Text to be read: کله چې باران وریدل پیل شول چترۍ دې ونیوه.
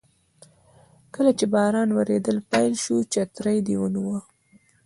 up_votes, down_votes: 2, 0